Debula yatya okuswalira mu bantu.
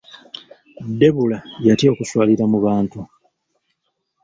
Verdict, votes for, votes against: accepted, 2, 0